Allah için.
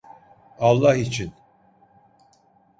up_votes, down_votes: 1, 2